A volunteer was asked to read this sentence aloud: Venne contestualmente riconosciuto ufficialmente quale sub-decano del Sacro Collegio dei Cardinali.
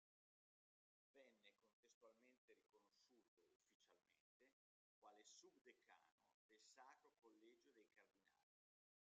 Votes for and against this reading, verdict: 0, 2, rejected